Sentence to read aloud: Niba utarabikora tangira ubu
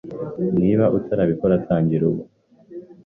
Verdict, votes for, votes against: accepted, 2, 0